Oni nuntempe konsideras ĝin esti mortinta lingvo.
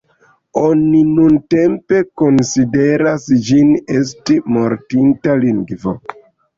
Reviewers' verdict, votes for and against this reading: accepted, 2, 0